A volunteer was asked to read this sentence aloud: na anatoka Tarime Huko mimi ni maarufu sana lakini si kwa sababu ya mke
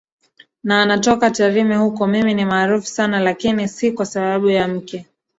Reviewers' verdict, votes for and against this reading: accepted, 2, 1